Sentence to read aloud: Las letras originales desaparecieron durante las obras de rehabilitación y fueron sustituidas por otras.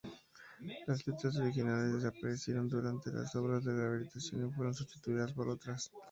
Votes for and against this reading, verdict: 2, 0, accepted